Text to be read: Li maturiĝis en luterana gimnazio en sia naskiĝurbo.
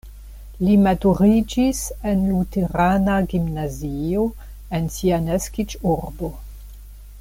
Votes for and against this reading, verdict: 2, 0, accepted